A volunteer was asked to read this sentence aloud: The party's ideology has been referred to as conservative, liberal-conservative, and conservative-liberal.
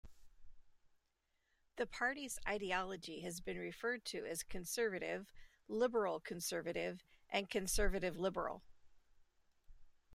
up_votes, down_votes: 2, 0